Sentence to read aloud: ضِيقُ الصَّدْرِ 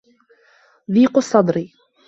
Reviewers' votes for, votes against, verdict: 2, 0, accepted